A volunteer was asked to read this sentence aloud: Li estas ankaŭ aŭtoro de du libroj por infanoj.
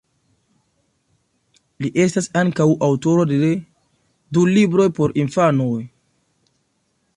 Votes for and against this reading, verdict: 0, 2, rejected